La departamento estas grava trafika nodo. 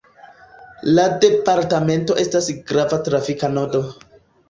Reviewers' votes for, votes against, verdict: 2, 0, accepted